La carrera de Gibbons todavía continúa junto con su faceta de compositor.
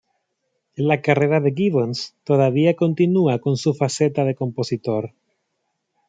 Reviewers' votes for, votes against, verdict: 0, 2, rejected